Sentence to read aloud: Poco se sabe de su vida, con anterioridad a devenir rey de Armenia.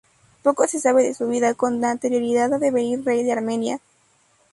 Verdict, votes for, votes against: rejected, 0, 2